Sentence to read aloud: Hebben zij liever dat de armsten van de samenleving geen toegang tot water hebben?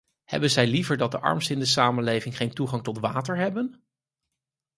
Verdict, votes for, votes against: rejected, 2, 4